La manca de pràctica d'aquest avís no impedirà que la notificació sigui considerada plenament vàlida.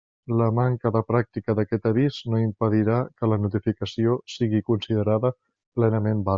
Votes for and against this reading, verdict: 0, 2, rejected